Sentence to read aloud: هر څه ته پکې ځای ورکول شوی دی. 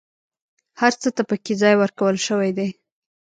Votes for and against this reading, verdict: 0, 2, rejected